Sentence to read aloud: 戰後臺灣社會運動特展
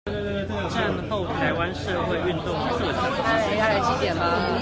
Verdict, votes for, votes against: rejected, 1, 2